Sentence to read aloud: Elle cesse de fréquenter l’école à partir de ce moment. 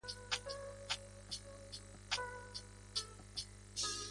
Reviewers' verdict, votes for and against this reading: rejected, 0, 2